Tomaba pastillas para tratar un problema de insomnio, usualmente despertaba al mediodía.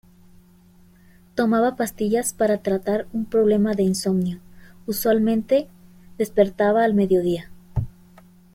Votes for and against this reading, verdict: 2, 1, accepted